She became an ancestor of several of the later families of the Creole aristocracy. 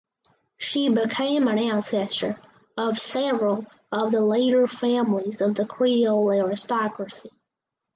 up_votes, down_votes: 4, 0